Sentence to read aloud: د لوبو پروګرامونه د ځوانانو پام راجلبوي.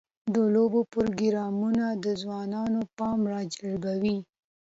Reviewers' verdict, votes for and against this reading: accepted, 2, 0